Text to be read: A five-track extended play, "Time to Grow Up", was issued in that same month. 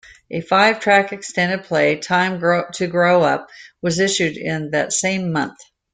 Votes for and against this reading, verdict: 0, 2, rejected